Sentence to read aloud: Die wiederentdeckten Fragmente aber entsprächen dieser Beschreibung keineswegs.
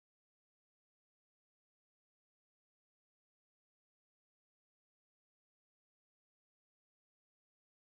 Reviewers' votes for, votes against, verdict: 0, 2, rejected